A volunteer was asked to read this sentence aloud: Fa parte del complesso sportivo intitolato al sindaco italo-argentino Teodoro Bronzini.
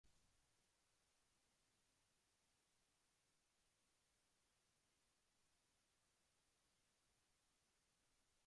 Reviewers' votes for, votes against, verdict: 0, 2, rejected